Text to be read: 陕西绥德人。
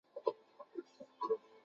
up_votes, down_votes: 0, 6